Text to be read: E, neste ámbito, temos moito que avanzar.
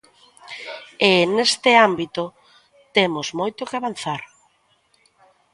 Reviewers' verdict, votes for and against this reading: accepted, 2, 0